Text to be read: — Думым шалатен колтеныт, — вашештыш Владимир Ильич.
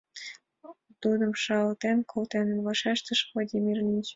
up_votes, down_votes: 3, 1